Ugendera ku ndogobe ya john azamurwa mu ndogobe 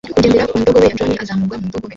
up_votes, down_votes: 1, 2